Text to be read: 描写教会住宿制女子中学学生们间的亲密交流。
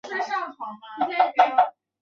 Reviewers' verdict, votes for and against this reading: rejected, 0, 2